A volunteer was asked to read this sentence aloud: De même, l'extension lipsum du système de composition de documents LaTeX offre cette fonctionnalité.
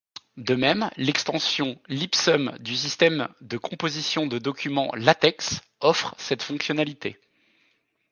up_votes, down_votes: 2, 0